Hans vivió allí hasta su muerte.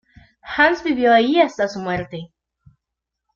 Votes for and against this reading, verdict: 2, 0, accepted